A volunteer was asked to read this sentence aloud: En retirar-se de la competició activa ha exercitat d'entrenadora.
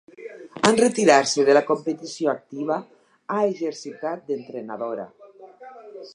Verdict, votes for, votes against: accepted, 4, 2